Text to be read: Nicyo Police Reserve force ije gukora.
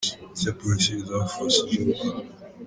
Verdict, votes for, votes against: rejected, 0, 2